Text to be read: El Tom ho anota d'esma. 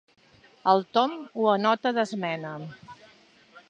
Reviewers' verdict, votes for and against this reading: rejected, 0, 2